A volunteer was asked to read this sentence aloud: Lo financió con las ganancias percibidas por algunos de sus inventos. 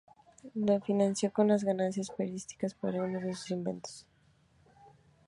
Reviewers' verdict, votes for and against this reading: accepted, 2, 0